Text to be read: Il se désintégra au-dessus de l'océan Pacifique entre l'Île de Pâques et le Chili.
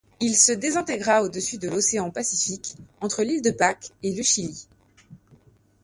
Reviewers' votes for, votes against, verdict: 2, 0, accepted